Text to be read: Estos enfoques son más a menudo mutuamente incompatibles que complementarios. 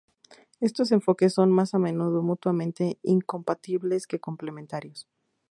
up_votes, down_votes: 4, 0